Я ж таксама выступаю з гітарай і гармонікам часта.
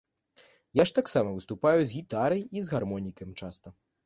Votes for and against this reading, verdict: 1, 3, rejected